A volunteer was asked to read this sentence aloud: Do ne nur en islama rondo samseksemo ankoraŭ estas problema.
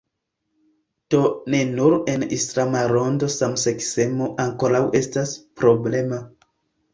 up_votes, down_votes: 2, 0